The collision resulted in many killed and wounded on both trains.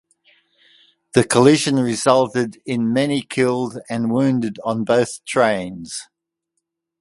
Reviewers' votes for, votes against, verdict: 2, 0, accepted